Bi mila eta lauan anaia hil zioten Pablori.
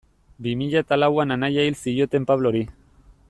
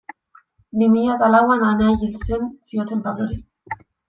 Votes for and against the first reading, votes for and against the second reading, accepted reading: 2, 0, 0, 2, first